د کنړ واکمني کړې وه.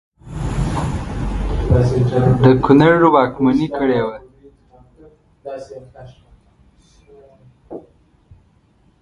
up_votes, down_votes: 0, 2